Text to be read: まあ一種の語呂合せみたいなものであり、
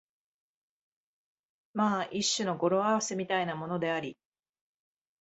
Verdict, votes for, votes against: accepted, 2, 0